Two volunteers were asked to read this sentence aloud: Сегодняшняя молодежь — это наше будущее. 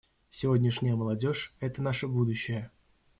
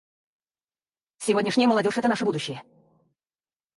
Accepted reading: first